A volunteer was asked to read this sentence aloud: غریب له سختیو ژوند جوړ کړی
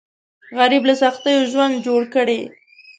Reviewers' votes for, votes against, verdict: 3, 0, accepted